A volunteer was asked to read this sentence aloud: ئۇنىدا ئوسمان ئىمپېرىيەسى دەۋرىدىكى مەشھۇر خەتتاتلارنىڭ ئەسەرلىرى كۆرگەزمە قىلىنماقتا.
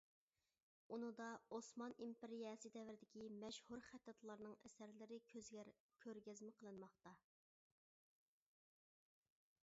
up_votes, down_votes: 0, 2